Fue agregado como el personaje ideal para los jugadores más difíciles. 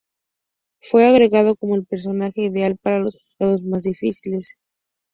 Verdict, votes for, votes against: rejected, 0, 2